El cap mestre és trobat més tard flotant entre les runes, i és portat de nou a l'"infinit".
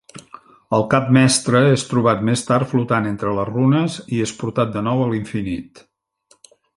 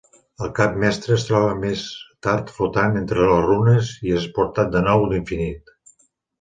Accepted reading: first